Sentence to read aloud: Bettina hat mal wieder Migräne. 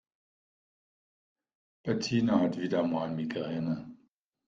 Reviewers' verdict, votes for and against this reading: rejected, 0, 2